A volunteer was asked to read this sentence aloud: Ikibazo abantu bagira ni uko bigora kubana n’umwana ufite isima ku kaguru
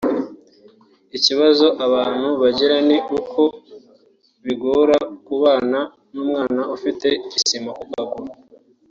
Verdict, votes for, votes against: rejected, 1, 2